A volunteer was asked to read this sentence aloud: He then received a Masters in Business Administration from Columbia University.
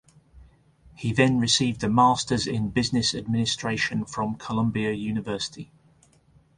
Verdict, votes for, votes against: accepted, 2, 0